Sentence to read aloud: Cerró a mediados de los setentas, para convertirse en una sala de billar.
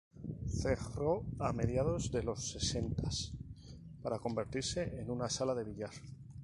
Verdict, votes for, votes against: rejected, 0, 2